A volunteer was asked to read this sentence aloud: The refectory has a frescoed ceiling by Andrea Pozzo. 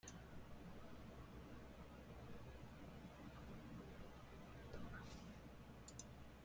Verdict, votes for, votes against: rejected, 0, 2